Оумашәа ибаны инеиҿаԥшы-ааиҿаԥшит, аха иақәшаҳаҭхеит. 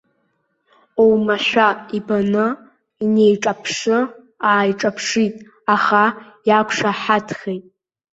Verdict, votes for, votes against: rejected, 0, 2